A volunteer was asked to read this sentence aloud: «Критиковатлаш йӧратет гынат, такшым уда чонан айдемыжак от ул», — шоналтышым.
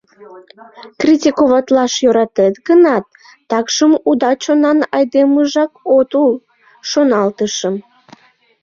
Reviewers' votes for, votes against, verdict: 3, 0, accepted